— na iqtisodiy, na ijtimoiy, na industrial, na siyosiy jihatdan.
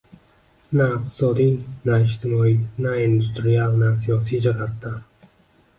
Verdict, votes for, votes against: accepted, 2, 1